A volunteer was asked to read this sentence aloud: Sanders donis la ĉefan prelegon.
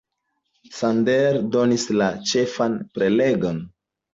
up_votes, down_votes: 2, 0